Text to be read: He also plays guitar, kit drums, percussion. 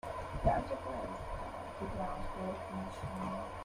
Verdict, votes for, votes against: rejected, 0, 2